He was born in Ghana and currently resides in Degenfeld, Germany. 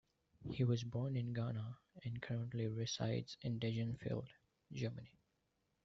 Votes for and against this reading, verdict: 2, 0, accepted